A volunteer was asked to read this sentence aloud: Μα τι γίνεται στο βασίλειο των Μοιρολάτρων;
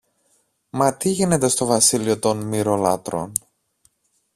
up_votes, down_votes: 2, 0